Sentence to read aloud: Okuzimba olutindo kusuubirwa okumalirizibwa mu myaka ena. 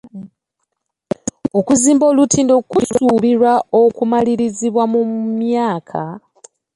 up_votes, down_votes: 0, 2